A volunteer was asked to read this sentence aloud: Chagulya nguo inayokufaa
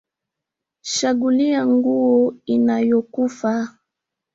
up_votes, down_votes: 1, 2